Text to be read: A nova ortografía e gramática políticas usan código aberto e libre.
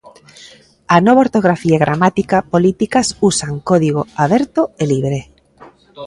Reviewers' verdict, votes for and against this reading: accepted, 2, 0